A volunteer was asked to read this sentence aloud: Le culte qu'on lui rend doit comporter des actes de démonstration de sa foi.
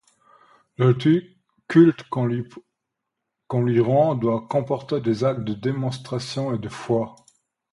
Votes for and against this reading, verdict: 1, 2, rejected